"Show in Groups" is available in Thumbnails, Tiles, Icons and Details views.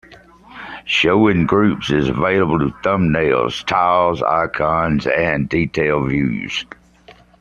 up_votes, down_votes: 2, 1